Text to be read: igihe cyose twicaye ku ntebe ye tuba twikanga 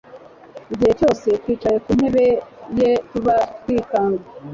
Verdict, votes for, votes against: rejected, 0, 2